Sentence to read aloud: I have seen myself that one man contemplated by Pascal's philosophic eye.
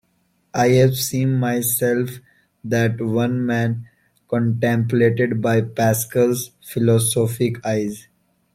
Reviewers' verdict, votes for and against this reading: rejected, 1, 2